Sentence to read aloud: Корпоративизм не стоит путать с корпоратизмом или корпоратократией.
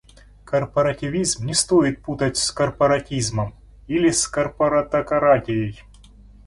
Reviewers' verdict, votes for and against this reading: accepted, 2, 0